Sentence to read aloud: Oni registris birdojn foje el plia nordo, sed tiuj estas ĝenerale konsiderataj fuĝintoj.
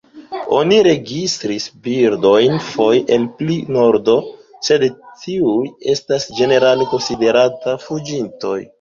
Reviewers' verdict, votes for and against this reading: rejected, 1, 3